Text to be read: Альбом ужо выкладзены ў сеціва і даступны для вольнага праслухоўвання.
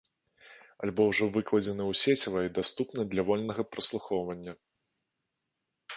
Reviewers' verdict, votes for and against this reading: accepted, 2, 0